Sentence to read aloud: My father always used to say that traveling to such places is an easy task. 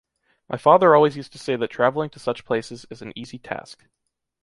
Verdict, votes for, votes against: accepted, 2, 0